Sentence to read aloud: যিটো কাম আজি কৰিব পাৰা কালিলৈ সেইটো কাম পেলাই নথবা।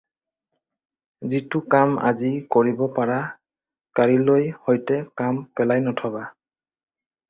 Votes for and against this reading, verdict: 0, 4, rejected